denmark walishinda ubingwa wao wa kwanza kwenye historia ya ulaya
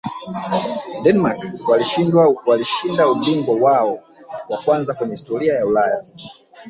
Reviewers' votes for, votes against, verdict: 0, 2, rejected